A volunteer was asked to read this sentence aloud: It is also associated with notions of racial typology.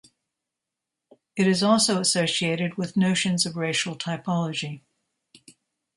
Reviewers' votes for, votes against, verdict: 2, 0, accepted